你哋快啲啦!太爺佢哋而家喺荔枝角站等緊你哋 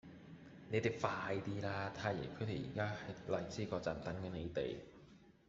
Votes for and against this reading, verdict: 1, 2, rejected